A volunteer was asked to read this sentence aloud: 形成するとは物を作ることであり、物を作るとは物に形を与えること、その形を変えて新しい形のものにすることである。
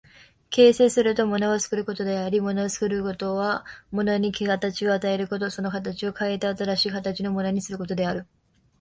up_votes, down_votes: 0, 2